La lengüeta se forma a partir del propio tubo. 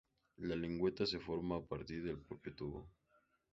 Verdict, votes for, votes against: accepted, 4, 0